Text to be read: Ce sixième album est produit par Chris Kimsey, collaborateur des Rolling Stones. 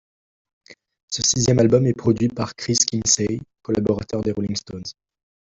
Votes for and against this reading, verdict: 1, 2, rejected